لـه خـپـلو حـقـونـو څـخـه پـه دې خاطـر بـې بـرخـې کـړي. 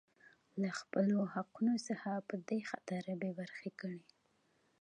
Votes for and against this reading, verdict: 2, 1, accepted